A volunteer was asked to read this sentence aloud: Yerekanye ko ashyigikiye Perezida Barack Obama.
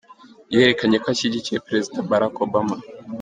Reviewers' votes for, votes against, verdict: 2, 0, accepted